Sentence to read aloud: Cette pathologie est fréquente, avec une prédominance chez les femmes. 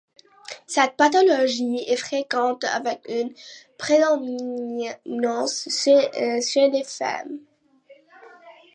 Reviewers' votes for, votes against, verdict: 0, 2, rejected